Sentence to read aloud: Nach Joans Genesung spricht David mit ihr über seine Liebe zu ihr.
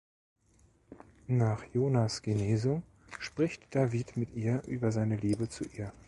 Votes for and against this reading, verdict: 0, 2, rejected